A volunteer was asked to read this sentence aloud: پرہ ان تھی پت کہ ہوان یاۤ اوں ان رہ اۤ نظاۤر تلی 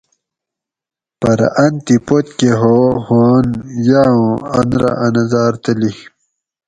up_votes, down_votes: 2, 2